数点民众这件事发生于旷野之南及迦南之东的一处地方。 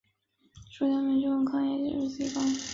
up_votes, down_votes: 3, 2